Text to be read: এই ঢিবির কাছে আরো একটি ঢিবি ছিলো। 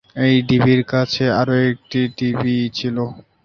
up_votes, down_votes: 1, 2